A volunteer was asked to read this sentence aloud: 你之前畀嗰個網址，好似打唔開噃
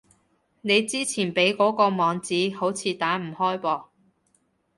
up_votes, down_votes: 2, 0